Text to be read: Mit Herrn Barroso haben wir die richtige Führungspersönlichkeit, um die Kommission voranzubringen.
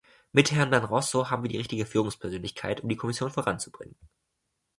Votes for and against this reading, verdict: 1, 2, rejected